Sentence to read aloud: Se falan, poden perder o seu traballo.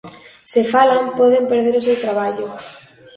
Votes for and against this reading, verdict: 2, 0, accepted